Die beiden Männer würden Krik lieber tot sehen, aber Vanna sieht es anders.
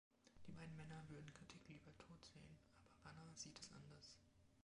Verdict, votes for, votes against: rejected, 0, 2